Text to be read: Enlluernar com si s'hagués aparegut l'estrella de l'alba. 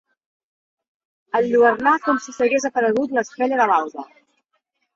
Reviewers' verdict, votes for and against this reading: accepted, 2, 0